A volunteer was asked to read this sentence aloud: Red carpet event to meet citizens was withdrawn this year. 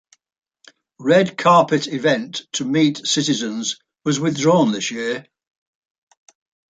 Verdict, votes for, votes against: accepted, 2, 0